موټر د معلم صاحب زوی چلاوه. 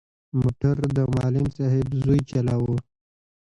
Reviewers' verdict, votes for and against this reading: rejected, 0, 2